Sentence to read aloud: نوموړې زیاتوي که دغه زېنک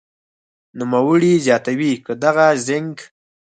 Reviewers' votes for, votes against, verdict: 4, 0, accepted